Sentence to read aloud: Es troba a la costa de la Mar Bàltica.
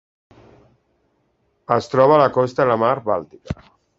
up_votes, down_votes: 1, 2